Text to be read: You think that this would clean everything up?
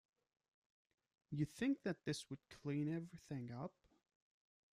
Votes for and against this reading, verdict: 2, 0, accepted